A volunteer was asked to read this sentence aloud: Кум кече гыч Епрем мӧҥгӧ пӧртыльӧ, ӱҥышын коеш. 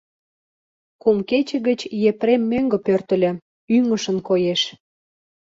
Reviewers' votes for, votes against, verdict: 2, 0, accepted